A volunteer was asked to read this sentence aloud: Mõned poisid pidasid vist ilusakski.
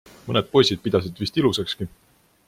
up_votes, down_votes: 2, 0